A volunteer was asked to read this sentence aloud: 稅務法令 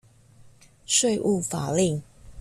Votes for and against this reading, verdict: 2, 1, accepted